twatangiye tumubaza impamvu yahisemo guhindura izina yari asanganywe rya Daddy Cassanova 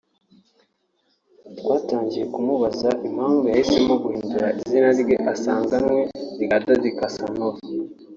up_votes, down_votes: 0, 2